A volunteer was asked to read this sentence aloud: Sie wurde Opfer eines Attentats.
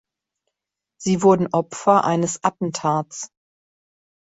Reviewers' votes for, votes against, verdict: 1, 2, rejected